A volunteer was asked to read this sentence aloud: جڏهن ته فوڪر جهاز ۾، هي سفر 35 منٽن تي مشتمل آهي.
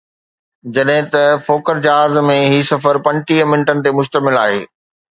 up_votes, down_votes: 0, 2